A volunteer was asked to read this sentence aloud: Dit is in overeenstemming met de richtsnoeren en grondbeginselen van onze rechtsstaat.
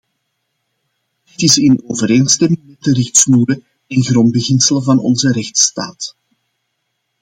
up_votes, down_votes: 2, 0